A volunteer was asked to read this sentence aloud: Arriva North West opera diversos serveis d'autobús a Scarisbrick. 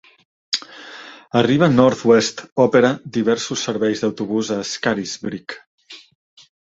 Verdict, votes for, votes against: accepted, 2, 1